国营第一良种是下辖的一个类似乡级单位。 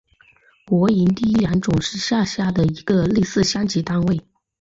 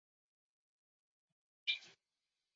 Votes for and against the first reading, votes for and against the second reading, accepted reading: 2, 0, 0, 4, first